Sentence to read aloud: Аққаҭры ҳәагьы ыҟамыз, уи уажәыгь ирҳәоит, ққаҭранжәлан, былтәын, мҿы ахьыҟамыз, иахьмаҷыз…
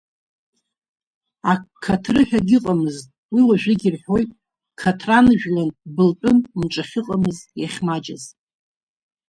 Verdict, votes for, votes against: rejected, 1, 2